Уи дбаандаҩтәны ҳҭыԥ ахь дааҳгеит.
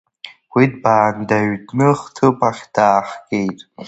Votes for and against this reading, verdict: 1, 2, rejected